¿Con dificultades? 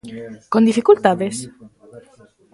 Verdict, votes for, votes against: rejected, 1, 2